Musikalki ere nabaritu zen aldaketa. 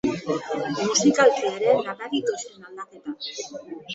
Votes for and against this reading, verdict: 1, 2, rejected